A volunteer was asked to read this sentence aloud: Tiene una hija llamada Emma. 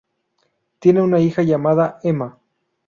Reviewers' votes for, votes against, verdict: 0, 2, rejected